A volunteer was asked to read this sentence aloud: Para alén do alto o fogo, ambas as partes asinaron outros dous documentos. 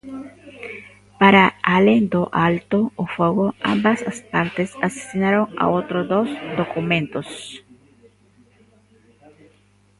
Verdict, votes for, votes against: rejected, 0, 2